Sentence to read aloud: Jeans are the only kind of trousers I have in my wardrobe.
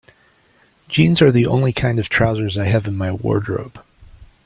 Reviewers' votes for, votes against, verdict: 3, 0, accepted